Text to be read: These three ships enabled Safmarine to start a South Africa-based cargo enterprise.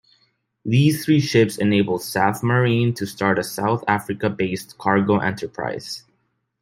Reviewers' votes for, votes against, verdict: 2, 0, accepted